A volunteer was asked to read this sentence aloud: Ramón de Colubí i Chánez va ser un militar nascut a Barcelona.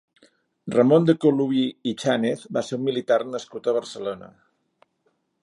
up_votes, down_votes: 3, 0